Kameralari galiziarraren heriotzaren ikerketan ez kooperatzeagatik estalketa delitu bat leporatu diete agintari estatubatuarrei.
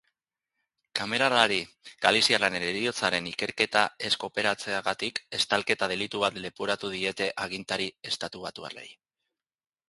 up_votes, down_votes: 0, 2